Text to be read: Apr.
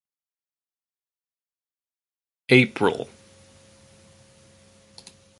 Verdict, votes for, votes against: rejected, 0, 2